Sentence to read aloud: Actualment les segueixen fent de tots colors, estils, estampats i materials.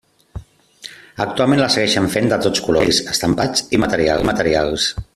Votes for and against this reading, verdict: 0, 2, rejected